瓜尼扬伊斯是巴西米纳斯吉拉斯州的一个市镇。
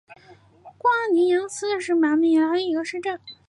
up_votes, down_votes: 4, 2